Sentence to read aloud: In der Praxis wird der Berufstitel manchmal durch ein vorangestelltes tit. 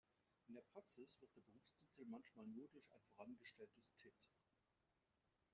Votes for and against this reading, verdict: 0, 2, rejected